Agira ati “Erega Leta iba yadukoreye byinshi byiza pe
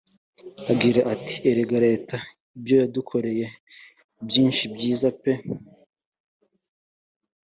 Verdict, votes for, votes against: accepted, 3, 0